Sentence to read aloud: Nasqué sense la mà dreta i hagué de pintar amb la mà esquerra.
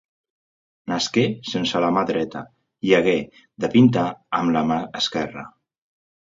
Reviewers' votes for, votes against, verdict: 3, 0, accepted